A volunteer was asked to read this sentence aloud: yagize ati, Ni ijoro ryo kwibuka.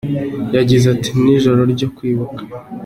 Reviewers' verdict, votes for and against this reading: accepted, 3, 0